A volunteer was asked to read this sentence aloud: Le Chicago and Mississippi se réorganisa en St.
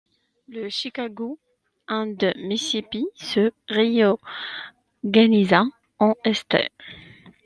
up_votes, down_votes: 1, 2